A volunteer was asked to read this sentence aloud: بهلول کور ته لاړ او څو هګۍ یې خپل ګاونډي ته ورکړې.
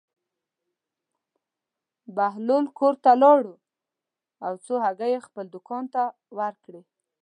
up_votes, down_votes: 1, 2